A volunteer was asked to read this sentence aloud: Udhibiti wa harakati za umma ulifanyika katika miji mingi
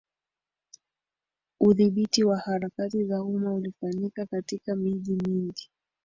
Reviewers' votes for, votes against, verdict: 1, 2, rejected